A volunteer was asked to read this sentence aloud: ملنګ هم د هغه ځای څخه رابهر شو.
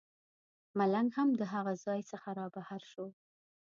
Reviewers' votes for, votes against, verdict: 2, 0, accepted